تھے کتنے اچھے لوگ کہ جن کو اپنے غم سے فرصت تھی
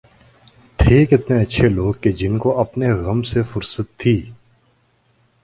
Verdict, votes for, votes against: accepted, 2, 0